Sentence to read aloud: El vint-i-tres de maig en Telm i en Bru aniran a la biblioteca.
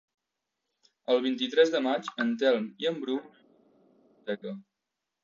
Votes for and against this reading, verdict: 0, 2, rejected